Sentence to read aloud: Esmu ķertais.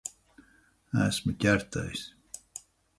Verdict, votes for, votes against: accepted, 4, 0